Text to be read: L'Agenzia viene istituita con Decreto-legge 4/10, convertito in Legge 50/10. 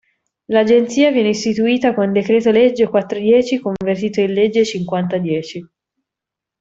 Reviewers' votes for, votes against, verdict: 0, 2, rejected